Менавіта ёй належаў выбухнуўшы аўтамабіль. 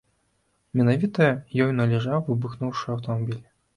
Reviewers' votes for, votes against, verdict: 0, 2, rejected